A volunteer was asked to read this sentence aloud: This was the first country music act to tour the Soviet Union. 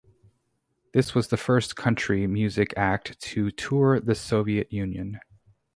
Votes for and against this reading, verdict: 2, 2, rejected